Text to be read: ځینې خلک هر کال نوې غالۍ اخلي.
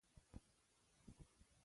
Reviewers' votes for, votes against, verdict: 0, 2, rejected